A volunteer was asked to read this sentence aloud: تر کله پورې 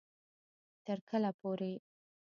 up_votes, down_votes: 0, 2